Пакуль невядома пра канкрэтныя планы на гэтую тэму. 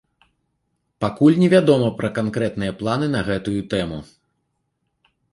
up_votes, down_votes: 2, 0